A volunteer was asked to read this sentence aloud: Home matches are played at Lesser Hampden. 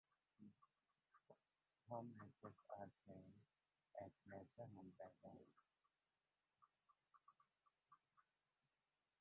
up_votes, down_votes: 0, 4